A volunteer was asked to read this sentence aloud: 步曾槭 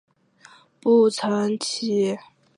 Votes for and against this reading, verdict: 3, 0, accepted